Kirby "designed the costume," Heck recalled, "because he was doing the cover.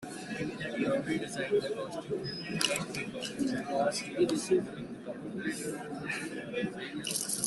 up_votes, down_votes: 0, 2